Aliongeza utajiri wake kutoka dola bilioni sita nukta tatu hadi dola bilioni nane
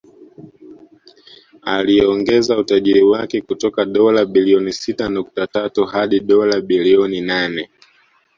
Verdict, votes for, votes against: rejected, 0, 2